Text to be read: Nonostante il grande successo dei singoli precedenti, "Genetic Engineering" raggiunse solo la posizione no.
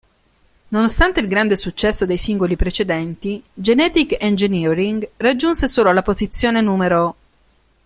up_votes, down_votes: 1, 2